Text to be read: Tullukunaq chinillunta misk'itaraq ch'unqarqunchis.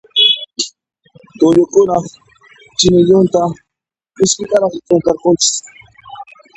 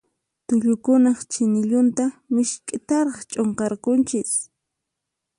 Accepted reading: second